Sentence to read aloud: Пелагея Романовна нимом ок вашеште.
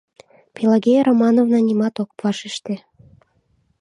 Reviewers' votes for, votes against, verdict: 1, 2, rejected